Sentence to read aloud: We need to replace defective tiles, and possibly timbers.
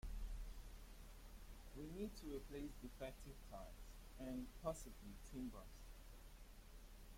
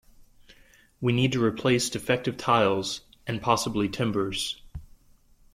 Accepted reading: second